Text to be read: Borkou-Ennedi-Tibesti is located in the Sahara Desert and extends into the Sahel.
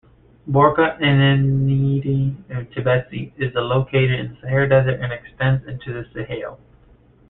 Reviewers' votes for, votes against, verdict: 0, 2, rejected